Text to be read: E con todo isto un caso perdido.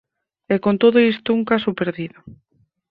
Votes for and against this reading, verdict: 4, 0, accepted